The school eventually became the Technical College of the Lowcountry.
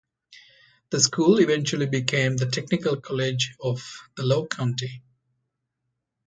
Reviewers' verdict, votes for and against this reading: rejected, 1, 2